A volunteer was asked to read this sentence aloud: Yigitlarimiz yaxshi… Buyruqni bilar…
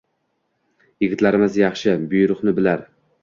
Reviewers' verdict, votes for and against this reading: accepted, 2, 0